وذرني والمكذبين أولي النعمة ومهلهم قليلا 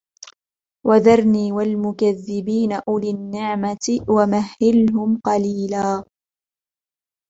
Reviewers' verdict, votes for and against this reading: accepted, 2, 0